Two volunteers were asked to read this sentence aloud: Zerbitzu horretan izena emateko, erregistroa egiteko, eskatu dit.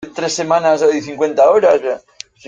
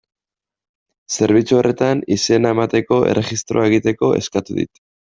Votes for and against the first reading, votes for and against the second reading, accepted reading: 0, 2, 2, 0, second